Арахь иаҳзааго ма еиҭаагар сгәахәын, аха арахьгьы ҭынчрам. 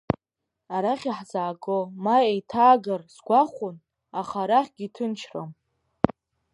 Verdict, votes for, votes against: accepted, 3, 0